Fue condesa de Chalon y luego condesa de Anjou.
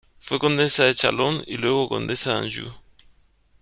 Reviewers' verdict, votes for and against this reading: accepted, 2, 0